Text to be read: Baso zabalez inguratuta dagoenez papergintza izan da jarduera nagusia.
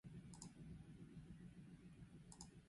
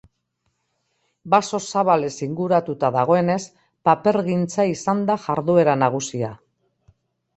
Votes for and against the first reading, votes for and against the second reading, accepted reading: 0, 2, 2, 0, second